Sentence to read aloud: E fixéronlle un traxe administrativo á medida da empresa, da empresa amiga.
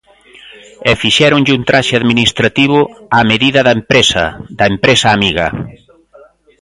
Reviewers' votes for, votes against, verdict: 1, 2, rejected